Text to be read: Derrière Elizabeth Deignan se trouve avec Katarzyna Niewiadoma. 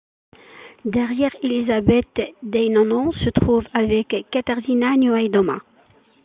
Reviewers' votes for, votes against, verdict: 0, 2, rejected